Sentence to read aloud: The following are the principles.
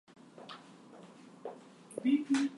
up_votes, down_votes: 0, 2